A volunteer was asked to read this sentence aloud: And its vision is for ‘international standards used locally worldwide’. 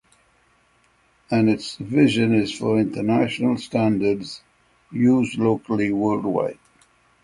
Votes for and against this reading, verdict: 6, 0, accepted